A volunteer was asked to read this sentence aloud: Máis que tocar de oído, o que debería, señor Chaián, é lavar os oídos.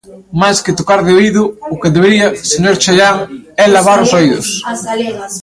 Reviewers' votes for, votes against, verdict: 1, 2, rejected